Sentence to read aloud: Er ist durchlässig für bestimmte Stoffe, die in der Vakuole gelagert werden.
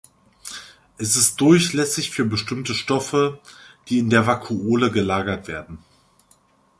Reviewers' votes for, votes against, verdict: 0, 2, rejected